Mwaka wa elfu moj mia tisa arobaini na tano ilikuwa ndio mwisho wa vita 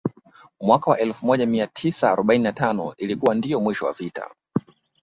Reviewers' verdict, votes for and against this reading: accepted, 2, 0